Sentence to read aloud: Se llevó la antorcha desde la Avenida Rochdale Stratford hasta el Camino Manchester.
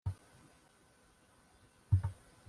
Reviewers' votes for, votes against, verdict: 0, 2, rejected